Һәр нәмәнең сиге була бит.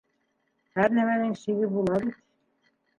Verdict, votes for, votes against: rejected, 1, 2